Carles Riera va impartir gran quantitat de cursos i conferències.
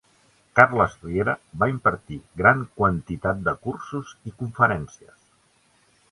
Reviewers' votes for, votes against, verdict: 3, 0, accepted